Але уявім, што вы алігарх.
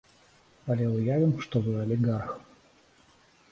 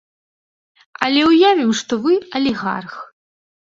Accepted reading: first